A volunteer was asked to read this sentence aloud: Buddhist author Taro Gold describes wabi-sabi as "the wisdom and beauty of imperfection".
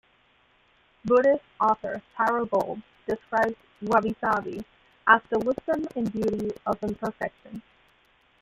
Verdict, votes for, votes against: accepted, 2, 0